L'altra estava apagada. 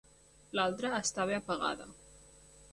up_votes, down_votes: 3, 0